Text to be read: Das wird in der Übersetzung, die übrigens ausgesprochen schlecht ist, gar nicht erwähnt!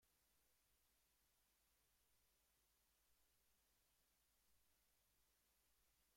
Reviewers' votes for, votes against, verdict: 0, 2, rejected